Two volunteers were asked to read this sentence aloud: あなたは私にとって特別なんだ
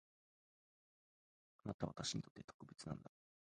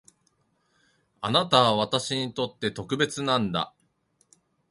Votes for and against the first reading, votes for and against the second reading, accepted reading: 0, 2, 3, 0, second